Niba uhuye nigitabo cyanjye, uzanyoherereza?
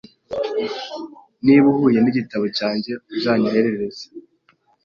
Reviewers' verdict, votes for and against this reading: rejected, 1, 2